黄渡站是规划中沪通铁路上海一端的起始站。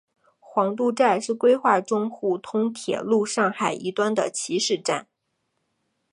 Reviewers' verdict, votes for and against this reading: rejected, 1, 2